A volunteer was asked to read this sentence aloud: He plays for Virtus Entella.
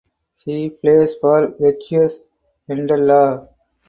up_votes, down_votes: 0, 4